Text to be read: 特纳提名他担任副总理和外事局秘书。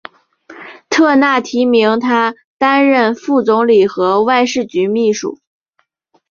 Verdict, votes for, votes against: accepted, 4, 1